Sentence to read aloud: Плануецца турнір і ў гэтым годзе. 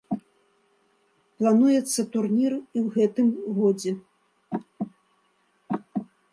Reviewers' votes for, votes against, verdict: 2, 0, accepted